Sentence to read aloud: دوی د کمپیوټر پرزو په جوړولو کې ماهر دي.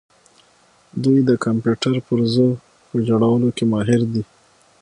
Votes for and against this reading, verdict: 6, 0, accepted